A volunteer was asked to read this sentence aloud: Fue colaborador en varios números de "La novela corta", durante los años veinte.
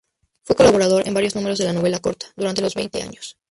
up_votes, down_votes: 2, 0